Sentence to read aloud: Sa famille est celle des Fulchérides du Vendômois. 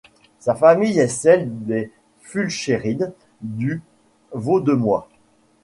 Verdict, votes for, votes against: rejected, 1, 2